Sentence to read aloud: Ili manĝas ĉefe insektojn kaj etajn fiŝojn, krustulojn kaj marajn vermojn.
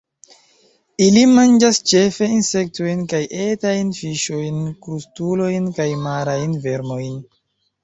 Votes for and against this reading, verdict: 1, 2, rejected